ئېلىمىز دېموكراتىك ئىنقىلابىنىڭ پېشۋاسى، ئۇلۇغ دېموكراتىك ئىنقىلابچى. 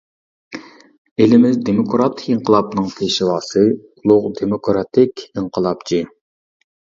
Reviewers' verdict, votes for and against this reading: accepted, 2, 0